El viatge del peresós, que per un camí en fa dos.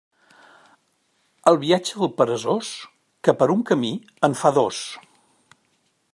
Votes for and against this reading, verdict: 2, 0, accepted